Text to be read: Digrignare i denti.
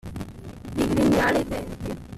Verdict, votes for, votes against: accepted, 2, 1